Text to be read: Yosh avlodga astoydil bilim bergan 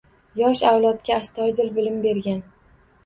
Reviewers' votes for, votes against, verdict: 2, 0, accepted